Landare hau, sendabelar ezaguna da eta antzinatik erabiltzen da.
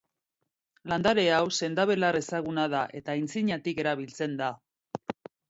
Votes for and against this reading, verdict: 1, 2, rejected